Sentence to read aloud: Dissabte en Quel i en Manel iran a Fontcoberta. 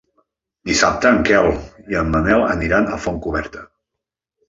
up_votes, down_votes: 0, 2